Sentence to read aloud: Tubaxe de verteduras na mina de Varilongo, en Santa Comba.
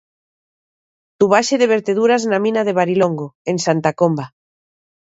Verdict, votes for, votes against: rejected, 1, 2